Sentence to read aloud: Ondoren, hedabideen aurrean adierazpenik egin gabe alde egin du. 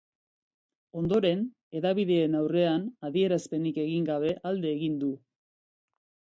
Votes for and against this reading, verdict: 3, 0, accepted